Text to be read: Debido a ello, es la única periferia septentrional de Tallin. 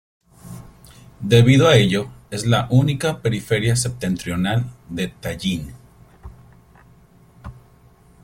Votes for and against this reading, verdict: 2, 0, accepted